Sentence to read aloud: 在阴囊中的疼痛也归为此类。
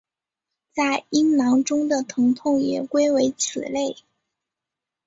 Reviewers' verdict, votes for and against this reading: accepted, 3, 1